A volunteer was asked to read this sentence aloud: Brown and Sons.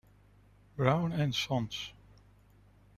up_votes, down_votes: 0, 2